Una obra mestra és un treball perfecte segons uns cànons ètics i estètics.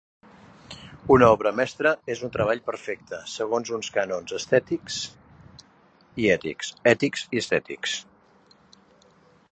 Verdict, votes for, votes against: rejected, 0, 3